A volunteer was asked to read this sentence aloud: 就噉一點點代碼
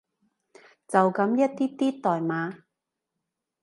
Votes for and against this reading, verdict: 0, 2, rejected